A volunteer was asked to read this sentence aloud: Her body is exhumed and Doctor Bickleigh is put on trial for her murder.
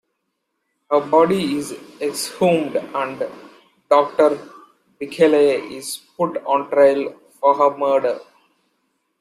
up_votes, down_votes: 2, 0